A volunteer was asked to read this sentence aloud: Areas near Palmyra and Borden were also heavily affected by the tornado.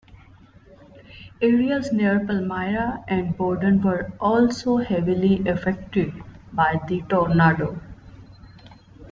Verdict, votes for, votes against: rejected, 0, 2